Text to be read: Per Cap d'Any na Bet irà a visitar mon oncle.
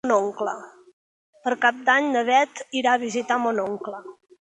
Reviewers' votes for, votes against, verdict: 0, 3, rejected